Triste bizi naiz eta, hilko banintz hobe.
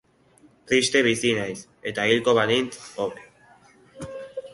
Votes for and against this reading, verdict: 4, 0, accepted